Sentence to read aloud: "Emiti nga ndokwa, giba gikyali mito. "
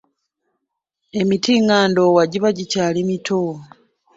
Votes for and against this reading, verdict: 2, 3, rejected